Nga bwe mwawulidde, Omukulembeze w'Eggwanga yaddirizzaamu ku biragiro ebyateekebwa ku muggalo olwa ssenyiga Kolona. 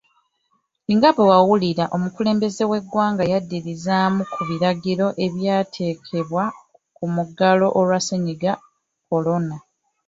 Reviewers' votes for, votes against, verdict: 0, 2, rejected